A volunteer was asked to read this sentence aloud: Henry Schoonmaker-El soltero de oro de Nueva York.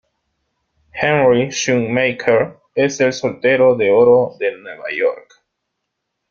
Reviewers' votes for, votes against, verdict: 0, 2, rejected